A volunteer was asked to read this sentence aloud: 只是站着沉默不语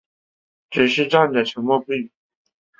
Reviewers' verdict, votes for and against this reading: accepted, 7, 0